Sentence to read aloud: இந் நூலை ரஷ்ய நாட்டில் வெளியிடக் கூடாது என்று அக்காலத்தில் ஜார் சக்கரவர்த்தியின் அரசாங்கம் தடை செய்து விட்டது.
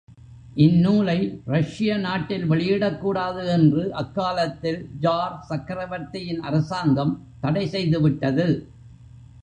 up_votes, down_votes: 2, 0